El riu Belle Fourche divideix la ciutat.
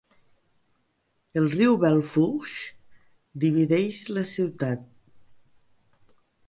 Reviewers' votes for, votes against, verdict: 3, 0, accepted